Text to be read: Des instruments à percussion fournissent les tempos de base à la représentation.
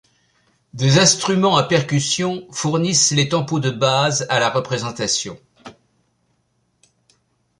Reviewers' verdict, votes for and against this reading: rejected, 0, 2